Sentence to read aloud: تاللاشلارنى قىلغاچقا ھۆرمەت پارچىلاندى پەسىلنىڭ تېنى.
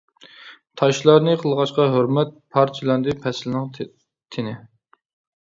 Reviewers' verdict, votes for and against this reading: rejected, 0, 2